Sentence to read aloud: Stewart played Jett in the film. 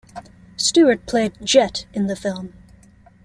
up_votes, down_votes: 2, 0